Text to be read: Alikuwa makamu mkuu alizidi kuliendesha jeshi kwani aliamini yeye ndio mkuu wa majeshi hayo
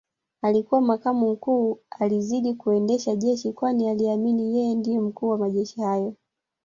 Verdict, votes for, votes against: rejected, 1, 2